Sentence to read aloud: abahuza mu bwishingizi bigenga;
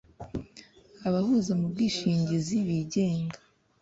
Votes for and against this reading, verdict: 2, 0, accepted